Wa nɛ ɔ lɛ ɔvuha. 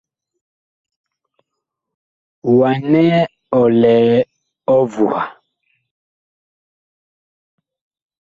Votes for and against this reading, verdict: 3, 1, accepted